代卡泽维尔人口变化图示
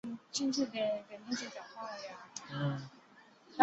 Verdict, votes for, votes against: rejected, 0, 2